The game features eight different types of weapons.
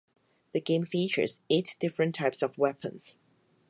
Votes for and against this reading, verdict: 4, 0, accepted